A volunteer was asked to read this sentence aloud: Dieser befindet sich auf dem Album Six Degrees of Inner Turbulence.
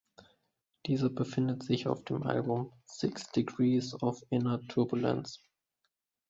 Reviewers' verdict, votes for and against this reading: rejected, 0, 2